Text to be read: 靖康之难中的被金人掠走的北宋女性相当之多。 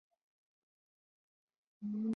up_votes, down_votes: 5, 1